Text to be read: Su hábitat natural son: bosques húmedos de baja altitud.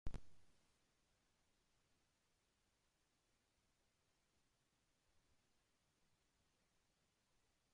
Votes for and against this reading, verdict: 0, 2, rejected